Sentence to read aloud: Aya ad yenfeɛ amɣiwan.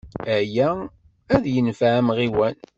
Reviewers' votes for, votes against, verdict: 2, 0, accepted